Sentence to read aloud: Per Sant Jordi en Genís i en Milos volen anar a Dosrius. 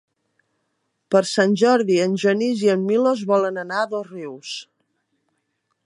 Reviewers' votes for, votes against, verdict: 3, 0, accepted